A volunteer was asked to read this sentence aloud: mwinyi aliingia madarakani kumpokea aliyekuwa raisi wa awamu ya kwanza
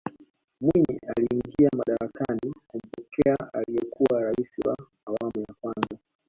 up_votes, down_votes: 0, 2